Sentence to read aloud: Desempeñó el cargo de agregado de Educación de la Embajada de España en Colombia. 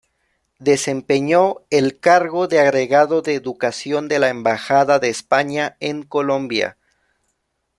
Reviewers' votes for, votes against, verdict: 2, 0, accepted